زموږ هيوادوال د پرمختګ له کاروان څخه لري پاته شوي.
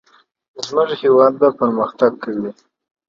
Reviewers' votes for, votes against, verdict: 2, 0, accepted